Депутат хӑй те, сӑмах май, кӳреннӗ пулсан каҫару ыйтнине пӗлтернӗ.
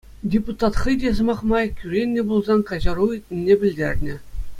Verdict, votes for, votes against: accepted, 2, 0